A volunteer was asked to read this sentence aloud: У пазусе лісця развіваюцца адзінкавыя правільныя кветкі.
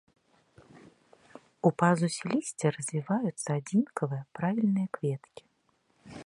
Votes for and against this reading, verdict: 2, 0, accepted